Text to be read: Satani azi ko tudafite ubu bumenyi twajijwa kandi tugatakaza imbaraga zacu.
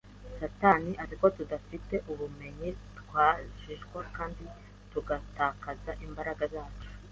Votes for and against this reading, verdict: 1, 2, rejected